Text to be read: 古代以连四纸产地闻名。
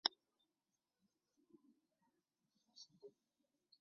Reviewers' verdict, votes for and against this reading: rejected, 0, 3